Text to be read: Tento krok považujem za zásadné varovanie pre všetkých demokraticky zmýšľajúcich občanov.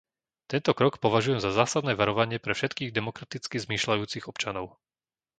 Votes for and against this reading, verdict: 2, 0, accepted